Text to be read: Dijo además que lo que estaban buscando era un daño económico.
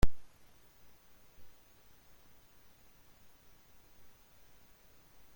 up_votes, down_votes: 0, 2